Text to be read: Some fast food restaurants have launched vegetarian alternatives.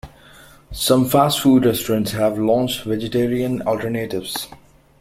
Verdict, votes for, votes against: accepted, 2, 0